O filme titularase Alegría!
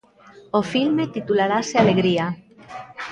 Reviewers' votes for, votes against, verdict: 1, 2, rejected